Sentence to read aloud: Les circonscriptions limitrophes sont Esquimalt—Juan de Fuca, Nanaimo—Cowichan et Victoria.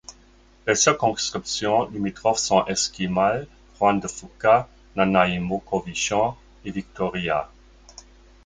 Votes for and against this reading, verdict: 1, 2, rejected